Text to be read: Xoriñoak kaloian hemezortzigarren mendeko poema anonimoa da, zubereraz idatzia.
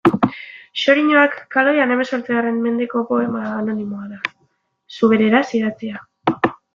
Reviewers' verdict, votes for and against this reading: rejected, 0, 2